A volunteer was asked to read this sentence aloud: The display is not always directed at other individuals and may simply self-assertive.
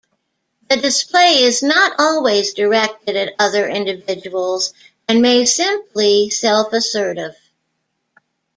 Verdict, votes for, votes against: rejected, 1, 2